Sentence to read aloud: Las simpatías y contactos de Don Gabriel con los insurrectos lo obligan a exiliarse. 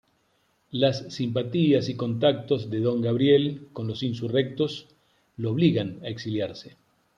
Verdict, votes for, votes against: accepted, 3, 0